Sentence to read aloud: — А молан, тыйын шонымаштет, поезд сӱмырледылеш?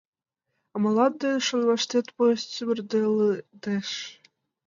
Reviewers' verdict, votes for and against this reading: rejected, 0, 2